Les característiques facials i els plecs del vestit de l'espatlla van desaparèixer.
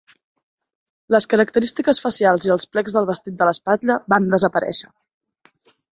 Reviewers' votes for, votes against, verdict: 2, 0, accepted